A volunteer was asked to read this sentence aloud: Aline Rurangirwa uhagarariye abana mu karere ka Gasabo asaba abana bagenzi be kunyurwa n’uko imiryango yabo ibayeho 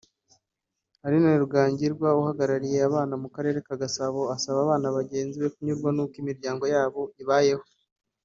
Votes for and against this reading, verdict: 1, 2, rejected